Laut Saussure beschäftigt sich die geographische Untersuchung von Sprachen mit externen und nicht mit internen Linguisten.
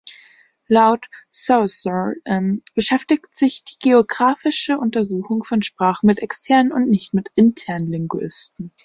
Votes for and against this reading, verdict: 0, 2, rejected